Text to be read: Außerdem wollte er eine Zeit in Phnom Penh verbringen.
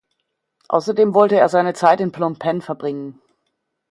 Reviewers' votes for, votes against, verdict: 0, 2, rejected